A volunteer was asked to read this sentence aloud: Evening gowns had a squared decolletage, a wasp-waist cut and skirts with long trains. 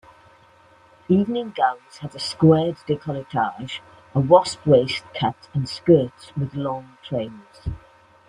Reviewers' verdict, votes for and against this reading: accepted, 2, 0